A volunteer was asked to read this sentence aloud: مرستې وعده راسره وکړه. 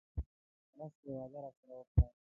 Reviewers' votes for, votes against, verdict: 1, 2, rejected